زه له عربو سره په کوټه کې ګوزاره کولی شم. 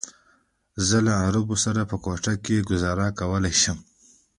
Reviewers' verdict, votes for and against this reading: rejected, 1, 2